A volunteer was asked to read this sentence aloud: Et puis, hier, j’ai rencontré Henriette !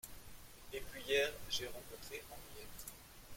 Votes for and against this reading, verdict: 1, 2, rejected